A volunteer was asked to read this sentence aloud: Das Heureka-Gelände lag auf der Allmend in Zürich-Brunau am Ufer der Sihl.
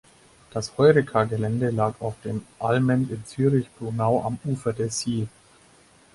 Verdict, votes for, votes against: rejected, 0, 4